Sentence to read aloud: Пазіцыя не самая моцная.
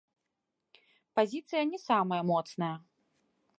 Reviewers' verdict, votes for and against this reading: accepted, 2, 1